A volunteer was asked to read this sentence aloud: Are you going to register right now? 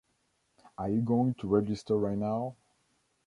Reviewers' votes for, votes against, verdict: 2, 0, accepted